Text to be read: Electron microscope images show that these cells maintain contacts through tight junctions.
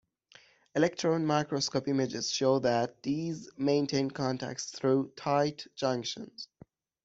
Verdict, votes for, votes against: rejected, 0, 2